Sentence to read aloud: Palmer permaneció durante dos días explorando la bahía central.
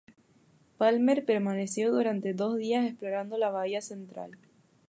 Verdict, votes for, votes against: accepted, 2, 0